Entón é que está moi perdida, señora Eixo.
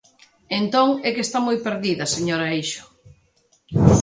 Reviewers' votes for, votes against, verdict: 2, 0, accepted